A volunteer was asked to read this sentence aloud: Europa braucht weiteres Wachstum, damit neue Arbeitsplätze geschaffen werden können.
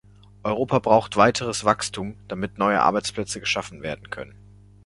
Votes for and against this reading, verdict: 2, 0, accepted